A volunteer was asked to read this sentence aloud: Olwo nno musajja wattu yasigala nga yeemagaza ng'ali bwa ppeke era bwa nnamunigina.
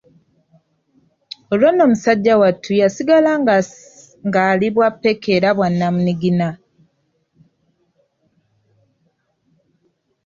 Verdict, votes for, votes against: rejected, 0, 2